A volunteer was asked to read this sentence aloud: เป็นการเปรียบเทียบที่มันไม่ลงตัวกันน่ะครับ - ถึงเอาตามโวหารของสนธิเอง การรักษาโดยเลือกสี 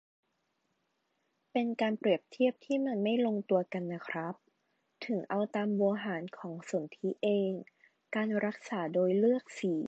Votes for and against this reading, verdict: 0, 2, rejected